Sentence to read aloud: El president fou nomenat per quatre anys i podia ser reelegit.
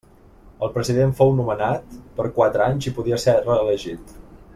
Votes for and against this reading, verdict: 3, 0, accepted